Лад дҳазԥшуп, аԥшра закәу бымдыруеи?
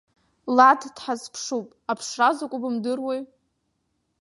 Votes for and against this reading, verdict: 2, 0, accepted